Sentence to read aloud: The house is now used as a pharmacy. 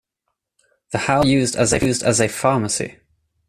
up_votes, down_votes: 0, 2